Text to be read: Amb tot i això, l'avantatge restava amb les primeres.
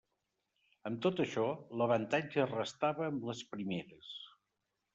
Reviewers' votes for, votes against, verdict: 1, 2, rejected